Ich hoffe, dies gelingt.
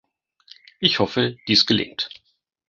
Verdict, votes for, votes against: accepted, 2, 0